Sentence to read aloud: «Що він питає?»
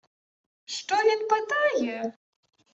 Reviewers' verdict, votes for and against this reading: accepted, 2, 1